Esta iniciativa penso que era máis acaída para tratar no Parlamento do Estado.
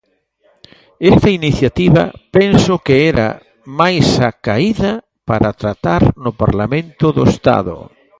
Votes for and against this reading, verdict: 2, 0, accepted